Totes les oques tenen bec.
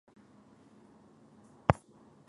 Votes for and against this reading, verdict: 0, 3, rejected